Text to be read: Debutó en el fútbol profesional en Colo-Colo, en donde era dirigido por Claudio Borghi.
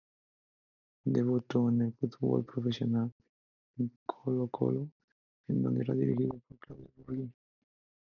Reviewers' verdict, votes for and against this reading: accepted, 2, 0